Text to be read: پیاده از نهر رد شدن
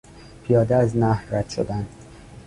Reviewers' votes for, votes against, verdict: 2, 0, accepted